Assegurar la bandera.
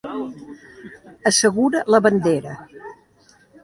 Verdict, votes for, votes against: rejected, 0, 2